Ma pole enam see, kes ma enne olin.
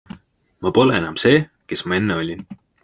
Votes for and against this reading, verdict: 2, 0, accepted